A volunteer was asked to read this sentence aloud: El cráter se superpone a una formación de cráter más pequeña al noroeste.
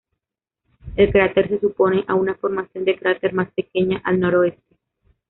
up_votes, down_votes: 1, 2